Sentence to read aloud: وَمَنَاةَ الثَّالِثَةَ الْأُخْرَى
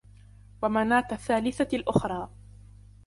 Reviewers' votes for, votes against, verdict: 2, 1, accepted